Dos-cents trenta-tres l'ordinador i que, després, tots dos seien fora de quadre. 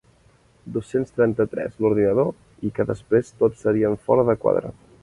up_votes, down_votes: 0, 2